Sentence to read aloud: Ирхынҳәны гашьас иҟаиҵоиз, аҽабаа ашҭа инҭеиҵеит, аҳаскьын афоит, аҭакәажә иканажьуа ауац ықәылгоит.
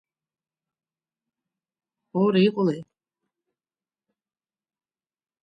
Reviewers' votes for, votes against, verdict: 0, 3, rejected